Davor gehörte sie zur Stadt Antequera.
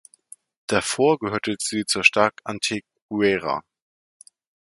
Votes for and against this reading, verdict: 1, 2, rejected